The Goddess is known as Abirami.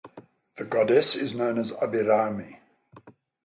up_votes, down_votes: 3, 0